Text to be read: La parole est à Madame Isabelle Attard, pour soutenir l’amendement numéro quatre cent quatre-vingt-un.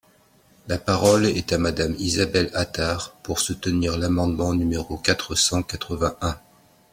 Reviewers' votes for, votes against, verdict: 2, 0, accepted